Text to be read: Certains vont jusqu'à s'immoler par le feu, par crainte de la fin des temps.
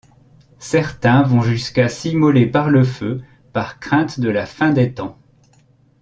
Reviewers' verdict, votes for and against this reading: accepted, 2, 0